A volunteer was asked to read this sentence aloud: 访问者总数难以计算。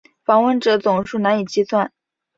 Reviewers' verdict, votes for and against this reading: accepted, 3, 0